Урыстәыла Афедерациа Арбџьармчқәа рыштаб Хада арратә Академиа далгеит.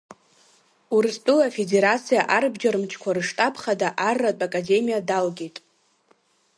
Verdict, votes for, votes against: accepted, 2, 0